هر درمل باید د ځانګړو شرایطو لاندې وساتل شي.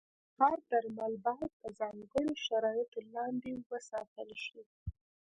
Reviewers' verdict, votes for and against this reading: rejected, 1, 2